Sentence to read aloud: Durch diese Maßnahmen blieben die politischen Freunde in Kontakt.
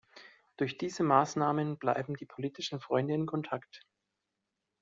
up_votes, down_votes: 0, 2